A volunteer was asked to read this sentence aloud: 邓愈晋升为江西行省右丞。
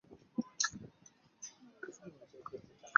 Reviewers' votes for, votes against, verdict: 0, 6, rejected